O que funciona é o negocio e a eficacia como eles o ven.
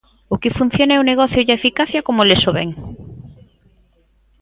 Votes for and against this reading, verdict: 2, 0, accepted